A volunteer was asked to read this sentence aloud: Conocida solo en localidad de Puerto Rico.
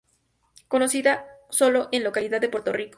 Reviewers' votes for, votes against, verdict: 2, 2, rejected